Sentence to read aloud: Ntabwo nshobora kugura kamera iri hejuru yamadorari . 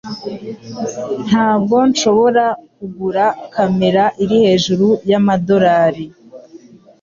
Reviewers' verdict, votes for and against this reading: accepted, 2, 0